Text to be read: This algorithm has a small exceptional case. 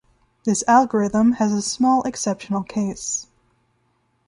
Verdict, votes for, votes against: rejected, 1, 2